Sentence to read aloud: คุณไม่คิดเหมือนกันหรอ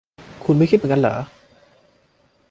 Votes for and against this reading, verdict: 1, 2, rejected